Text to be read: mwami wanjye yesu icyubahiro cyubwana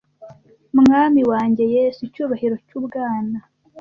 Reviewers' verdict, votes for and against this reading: accepted, 2, 0